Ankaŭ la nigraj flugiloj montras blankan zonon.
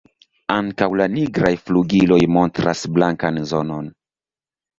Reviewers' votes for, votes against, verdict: 2, 1, accepted